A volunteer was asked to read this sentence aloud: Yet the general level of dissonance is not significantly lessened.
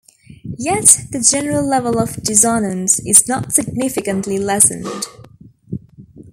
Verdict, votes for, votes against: accepted, 2, 1